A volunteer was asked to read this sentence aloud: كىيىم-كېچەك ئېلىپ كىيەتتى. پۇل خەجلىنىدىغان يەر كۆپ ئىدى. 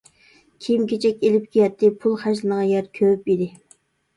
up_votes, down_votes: 0, 2